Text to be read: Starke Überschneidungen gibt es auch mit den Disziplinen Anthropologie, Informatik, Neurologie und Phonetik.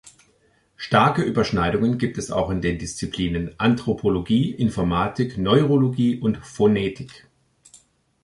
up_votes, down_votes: 4, 2